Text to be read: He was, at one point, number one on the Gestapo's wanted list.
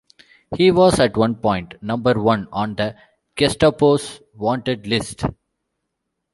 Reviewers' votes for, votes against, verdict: 2, 0, accepted